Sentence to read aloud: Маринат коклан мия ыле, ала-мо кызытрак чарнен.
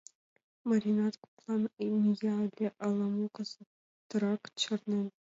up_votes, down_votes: 1, 2